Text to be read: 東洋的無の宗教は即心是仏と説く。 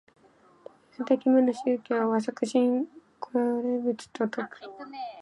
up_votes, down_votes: 1, 2